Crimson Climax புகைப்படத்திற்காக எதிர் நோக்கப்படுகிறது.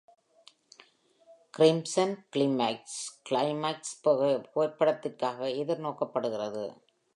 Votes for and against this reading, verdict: 0, 2, rejected